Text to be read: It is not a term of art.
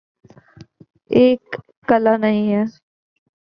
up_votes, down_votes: 0, 2